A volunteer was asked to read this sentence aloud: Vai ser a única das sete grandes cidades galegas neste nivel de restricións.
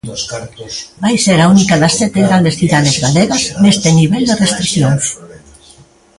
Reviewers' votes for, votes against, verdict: 1, 2, rejected